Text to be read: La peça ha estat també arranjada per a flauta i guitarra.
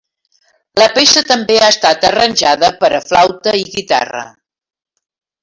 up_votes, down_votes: 1, 2